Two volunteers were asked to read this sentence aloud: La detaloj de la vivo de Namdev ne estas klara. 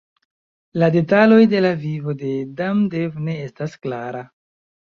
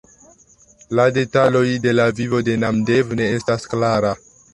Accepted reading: second